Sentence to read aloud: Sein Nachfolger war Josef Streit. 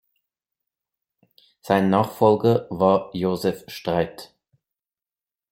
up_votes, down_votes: 2, 0